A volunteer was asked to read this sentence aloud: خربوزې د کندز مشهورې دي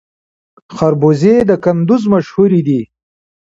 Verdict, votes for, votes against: accepted, 2, 0